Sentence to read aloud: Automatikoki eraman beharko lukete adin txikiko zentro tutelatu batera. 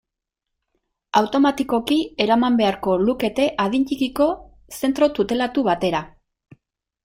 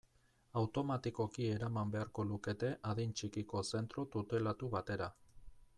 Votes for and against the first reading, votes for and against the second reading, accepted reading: 2, 0, 1, 2, first